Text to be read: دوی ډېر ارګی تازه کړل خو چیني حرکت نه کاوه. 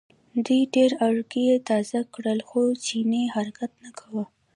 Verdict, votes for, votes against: accepted, 2, 0